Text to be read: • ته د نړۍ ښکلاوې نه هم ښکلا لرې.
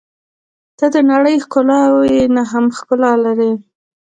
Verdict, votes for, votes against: accepted, 2, 0